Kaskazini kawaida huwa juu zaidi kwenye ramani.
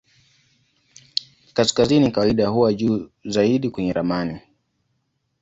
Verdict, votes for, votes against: accepted, 2, 0